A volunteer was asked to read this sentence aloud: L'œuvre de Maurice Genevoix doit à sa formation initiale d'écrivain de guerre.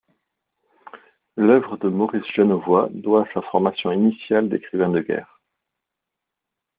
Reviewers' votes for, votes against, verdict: 2, 1, accepted